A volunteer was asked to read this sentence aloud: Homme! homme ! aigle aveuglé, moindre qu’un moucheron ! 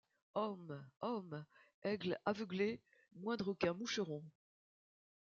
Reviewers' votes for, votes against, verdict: 2, 0, accepted